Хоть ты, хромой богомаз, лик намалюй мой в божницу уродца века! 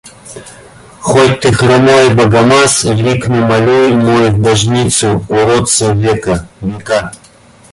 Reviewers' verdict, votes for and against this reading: rejected, 0, 2